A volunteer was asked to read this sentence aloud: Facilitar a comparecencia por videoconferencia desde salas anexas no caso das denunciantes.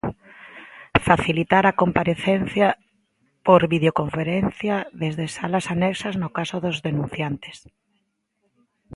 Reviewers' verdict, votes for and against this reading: rejected, 0, 2